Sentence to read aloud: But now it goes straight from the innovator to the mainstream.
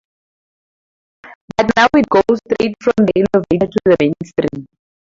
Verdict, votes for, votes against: rejected, 0, 2